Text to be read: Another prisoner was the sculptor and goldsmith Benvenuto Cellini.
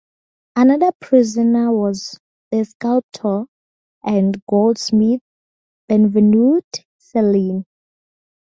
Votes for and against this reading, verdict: 0, 4, rejected